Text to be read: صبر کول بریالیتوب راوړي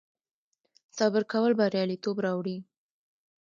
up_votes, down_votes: 1, 2